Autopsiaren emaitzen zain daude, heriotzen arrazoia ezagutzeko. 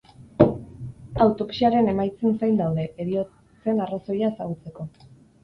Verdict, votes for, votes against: accepted, 4, 2